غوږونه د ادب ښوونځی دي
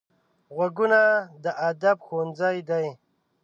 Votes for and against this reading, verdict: 0, 2, rejected